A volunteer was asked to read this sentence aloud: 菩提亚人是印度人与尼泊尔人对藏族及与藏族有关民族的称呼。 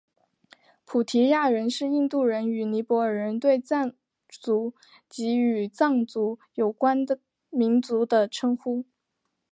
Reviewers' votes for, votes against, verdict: 2, 0, accepted